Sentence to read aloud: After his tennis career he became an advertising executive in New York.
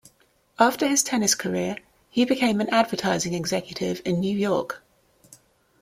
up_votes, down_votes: 2, 0